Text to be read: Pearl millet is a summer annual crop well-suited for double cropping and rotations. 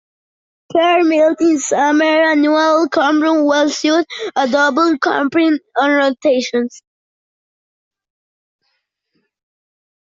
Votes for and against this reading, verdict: 0, 2, rejected